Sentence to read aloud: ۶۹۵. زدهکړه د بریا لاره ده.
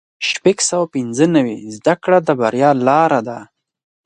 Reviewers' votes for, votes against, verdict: 0, 2, rejected